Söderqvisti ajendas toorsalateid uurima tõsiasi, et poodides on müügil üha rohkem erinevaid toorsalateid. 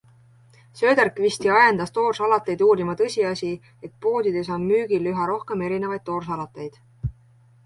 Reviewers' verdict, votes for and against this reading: accepted, 2, 0